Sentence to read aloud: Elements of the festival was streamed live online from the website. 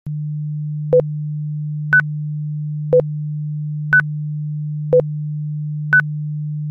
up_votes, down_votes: 0, 2